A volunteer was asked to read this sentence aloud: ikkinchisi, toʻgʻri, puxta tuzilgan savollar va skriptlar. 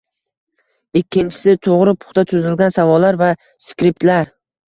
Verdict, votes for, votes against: accepted, 2, 1